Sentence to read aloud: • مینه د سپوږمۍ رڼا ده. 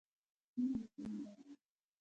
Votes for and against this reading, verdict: 0, 2, rejected